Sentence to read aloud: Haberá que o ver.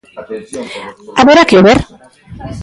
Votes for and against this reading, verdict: 1, 2, rejected